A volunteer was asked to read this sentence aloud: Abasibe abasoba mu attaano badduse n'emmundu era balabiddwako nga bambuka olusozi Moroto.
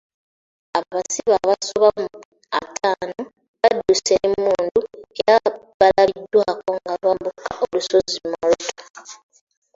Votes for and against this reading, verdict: 2, 0, accepted